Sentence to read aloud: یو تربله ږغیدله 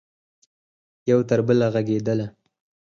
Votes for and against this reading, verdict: 4, 0, accepted